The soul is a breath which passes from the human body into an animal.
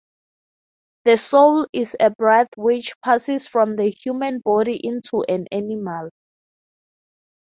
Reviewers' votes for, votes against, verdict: 6, 0, accepted